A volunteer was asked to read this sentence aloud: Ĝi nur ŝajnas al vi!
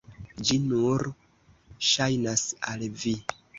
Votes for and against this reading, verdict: 2, 1, accepted